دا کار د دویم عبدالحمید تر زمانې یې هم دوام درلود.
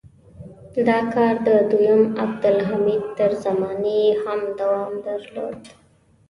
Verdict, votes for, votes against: rejected, 1, 2